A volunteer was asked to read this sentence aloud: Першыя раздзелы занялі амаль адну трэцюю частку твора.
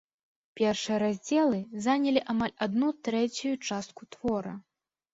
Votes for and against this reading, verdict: 3, 0, accepted